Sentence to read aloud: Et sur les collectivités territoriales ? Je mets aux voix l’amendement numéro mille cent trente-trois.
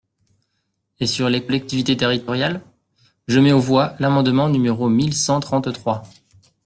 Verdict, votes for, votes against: rejected, 0, 2